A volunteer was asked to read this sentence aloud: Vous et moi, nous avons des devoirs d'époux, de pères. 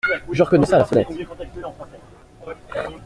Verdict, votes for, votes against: rejected, 0, 2